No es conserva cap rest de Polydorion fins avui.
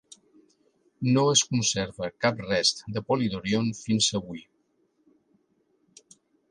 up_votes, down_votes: 2, 0